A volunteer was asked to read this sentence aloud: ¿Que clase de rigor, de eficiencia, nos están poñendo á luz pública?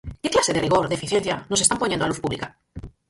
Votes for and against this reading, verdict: 2, 4, rejected